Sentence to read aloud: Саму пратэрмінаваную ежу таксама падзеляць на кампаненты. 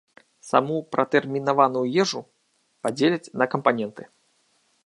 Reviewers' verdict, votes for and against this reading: rejected, 0, 2